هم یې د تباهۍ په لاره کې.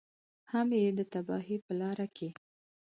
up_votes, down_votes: 4, 0